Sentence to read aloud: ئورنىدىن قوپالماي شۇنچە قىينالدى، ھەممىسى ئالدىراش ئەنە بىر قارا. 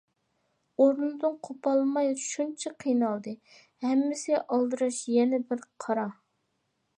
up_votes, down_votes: 2, 0